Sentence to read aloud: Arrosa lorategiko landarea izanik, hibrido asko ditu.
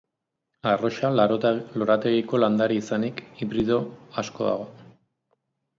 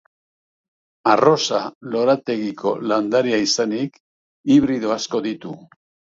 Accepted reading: second